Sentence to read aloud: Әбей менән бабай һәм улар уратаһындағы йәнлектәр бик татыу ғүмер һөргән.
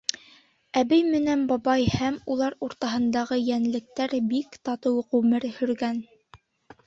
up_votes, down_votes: 1, 3